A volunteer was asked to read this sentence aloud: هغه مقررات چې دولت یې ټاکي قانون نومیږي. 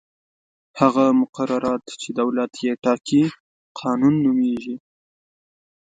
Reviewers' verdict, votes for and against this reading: accepted, 2, 0